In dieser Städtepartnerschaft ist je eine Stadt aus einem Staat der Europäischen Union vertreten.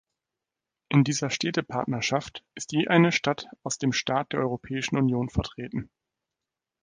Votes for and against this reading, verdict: 1, 2, rejected